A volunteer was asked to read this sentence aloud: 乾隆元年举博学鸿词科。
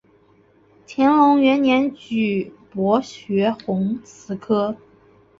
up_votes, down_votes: 2, 0